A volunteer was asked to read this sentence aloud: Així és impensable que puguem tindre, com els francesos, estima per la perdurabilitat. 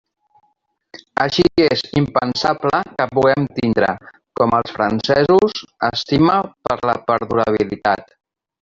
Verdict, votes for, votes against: rejected, 1, 2